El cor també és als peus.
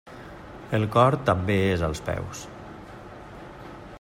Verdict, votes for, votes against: accepted, 3, 0